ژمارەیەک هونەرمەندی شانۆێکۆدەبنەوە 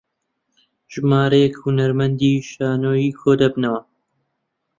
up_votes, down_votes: 3, 4